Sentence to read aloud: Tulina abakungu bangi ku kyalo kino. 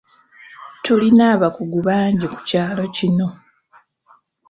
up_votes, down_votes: 1, 2